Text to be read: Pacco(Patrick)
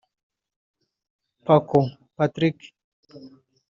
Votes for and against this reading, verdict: 0, 2, rejected